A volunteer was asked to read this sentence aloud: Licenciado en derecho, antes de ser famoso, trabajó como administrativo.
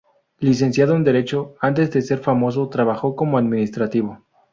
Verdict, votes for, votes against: accepted, 2, 0